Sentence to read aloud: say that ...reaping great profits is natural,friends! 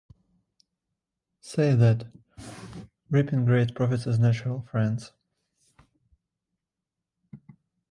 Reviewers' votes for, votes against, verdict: 2, 0, accepted